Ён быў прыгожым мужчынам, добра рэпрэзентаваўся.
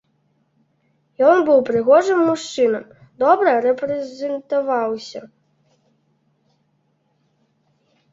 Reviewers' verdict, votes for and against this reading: rejected, 0, 2